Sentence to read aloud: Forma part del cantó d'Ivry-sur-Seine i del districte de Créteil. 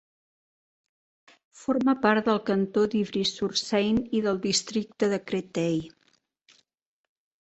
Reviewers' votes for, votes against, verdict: 2, 0, accepted